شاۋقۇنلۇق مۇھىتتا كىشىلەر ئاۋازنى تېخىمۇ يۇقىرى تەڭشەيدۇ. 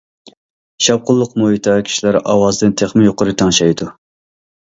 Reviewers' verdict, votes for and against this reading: accepted, 2, 0